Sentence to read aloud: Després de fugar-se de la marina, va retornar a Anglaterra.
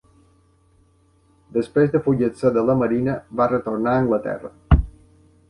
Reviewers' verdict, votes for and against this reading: rejected, 0, 2